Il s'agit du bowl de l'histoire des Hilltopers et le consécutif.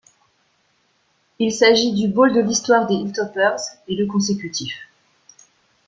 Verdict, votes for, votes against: accepted, 2, 0